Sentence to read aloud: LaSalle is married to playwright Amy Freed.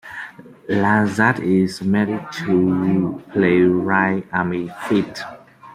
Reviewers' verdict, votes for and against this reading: rejected, 1, 2